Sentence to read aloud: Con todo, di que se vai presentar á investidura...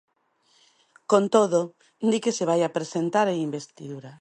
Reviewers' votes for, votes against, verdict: 1, 2, rejected